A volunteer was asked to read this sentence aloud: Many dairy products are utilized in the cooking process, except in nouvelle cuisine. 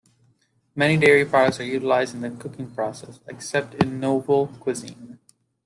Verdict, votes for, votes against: accepted, 2, 0